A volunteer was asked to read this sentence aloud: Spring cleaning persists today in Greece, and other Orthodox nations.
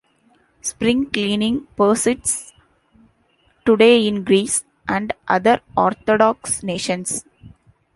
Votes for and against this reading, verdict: 1, 2, rejected